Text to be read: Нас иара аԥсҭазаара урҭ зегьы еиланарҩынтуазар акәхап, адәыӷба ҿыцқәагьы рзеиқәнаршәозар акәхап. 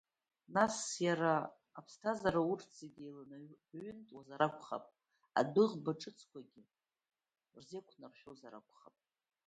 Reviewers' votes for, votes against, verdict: 2, 0, accepted